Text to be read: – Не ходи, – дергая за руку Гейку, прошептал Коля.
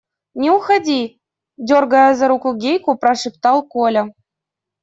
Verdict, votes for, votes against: rejected, 0, 2